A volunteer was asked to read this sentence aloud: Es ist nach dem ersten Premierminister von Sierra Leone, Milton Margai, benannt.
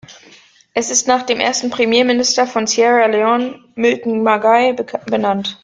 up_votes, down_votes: 0, 2